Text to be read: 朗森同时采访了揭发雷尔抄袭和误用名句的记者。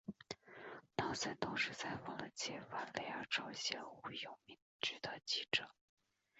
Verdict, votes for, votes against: rejected, 0, 2